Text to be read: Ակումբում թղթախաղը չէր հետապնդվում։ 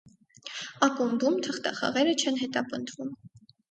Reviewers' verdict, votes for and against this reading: rejected, 0, 4